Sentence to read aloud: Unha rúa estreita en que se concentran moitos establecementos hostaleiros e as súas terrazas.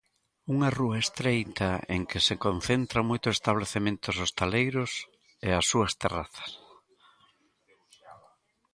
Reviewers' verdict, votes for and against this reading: rejected, 1, 2